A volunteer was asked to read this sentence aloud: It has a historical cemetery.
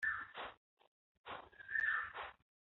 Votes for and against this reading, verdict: 1, 2, rejected